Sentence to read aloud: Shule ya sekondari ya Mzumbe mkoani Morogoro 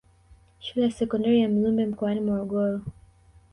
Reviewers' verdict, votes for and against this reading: accepted, 2, 1